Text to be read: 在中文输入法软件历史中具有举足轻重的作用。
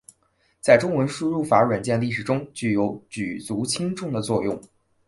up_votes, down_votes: 2, 1